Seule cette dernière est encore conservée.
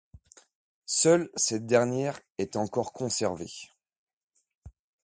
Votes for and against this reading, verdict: 2, 0, accepted